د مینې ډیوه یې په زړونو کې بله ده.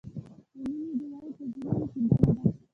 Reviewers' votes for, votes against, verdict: 2, 1, accepted